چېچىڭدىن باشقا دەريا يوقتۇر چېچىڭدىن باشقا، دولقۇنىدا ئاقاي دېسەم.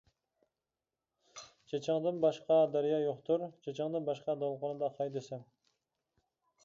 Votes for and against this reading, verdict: 2, 0, accepted